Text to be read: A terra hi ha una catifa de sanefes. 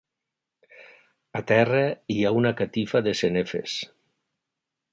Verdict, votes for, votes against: rejected, 0, 2